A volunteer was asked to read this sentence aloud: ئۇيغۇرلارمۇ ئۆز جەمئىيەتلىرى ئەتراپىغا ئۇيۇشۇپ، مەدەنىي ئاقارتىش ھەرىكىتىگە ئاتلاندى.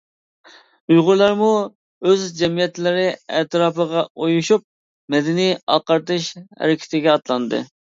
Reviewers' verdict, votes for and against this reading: accepted, 2, 0